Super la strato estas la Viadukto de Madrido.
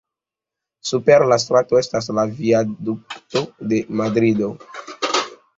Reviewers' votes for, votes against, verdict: 2, 0, accepted